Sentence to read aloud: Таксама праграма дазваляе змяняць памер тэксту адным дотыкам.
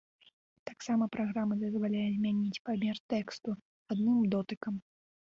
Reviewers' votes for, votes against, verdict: 2, 0, accepted